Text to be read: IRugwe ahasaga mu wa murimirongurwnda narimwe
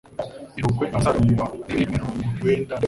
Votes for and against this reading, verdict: 0, 2, rejected